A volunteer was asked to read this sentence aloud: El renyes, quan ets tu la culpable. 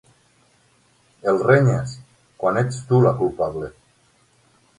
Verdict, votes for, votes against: rejected, 3, 6